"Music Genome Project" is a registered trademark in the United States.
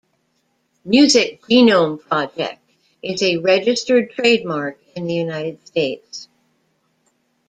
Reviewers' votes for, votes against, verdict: 1, 2, rejected